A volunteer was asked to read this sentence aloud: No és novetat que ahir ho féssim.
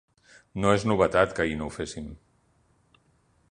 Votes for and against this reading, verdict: 1, 2, rejected